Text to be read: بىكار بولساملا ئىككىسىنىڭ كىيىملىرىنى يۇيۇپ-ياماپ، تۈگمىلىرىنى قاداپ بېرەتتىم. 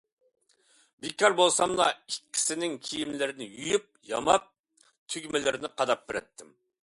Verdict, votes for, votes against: accepted, 2, 0